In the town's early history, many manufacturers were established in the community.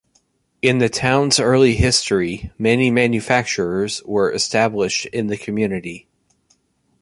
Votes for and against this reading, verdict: 2, 1, accepted